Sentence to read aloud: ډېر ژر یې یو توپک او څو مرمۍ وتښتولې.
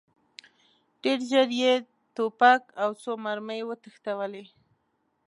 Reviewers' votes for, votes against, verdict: 1, 2, rejected